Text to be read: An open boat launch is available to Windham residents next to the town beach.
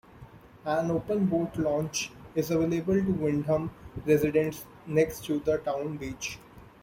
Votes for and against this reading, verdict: 2, 1, accepted